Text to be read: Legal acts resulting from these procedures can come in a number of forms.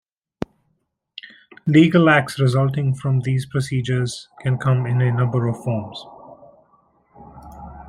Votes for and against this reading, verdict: 2, 1, accepted